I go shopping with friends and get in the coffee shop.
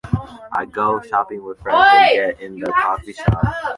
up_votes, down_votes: 0, 2